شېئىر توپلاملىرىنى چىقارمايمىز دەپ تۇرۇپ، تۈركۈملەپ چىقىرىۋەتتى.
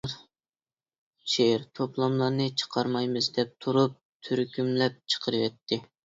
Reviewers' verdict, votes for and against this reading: rejected, 1, 2